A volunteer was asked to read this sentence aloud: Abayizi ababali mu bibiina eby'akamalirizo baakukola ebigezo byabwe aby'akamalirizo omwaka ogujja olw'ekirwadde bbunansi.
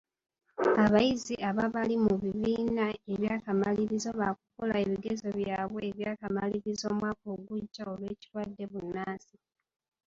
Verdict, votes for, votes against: rejected, 1, 2